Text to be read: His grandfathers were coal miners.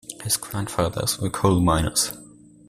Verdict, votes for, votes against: accepted, 2, 0